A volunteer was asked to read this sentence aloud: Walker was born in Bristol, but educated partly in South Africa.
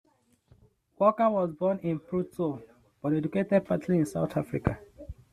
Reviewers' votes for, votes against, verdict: 1, 2, rejected